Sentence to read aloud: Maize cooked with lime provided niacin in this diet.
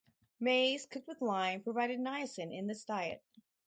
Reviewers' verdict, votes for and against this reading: accepted, 4, 0